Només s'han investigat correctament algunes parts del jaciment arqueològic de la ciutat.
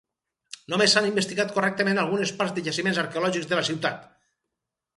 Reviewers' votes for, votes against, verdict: 2, 4, rejected